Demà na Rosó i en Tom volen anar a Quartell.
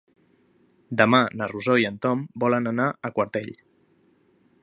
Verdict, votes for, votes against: accepted, 4, 0